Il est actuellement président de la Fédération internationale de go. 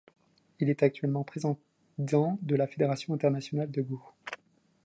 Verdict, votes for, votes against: rejected, 0, 2